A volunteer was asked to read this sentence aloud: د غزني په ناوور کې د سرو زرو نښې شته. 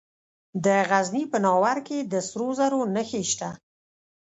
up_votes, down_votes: 2, 0